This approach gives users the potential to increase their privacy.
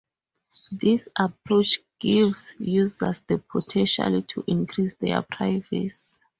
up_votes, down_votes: 2, 2